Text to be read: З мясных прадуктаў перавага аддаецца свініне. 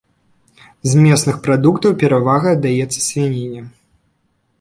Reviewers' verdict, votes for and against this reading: rejected, 1, 2